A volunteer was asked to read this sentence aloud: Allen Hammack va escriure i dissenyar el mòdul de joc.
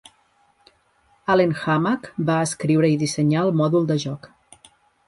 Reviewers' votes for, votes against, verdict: 3, 0, accepted